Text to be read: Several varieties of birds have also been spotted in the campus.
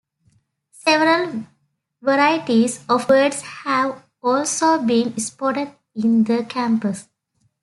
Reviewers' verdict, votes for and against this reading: accepted, 2, 1